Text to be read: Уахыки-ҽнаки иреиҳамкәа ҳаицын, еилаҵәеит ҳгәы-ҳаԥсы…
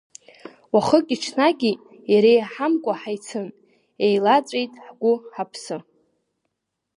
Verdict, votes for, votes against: accepted, 2, 0